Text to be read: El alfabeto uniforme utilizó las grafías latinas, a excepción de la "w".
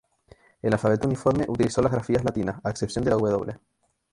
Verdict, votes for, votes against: accepted, 4, 0